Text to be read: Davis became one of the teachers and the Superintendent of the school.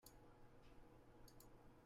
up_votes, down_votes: 0, 2